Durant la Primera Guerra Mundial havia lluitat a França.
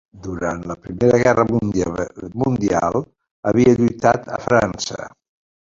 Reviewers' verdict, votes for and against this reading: rejected, 0, 2